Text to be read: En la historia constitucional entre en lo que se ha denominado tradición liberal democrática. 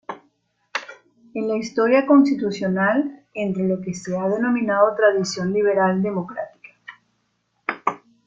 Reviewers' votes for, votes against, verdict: 2, 1, accepted